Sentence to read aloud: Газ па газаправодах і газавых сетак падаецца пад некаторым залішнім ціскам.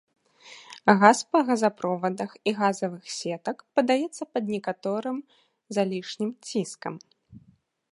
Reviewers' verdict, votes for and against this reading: accepted, 2, 0